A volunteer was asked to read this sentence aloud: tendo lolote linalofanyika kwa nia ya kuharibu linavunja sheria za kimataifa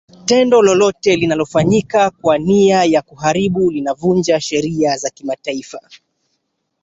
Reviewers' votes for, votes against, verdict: 1, 2, rejected